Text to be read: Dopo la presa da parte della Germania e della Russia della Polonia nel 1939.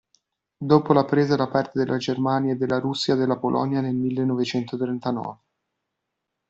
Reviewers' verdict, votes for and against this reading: rejected, 0, 2